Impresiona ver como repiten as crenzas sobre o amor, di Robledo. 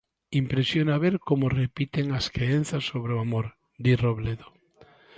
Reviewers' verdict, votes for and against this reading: rejected, 0, 2